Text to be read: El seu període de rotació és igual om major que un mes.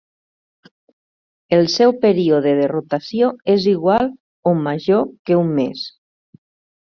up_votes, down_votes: 2, 0